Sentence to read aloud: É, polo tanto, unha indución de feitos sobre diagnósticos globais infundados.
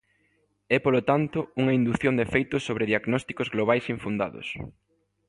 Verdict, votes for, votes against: accepted, 2, 0